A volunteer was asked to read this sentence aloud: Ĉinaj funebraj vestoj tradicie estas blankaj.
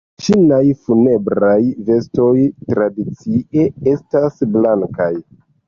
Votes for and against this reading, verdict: 1, 2, rejected